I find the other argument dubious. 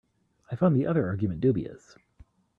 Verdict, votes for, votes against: accepted, 2, 0